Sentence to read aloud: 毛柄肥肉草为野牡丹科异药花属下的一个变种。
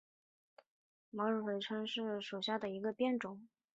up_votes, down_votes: 0, 5